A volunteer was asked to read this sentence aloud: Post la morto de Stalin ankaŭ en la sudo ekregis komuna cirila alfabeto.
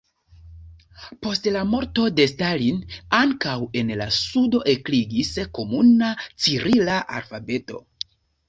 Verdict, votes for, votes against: rejected, 1, 2